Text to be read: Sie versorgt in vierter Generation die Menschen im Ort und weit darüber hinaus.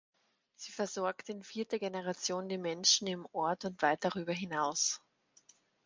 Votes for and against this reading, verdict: 4, 0, accepted